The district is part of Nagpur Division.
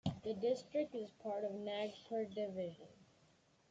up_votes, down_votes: 1, 2